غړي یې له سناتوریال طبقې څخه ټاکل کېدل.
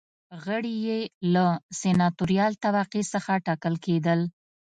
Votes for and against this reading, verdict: 2, 0, accepted